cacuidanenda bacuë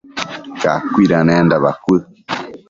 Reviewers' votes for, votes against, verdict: 1, 2, rejected